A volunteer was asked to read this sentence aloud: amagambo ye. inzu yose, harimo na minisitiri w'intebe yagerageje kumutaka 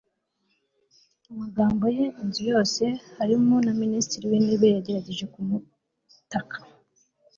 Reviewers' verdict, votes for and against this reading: accepted, 2, 0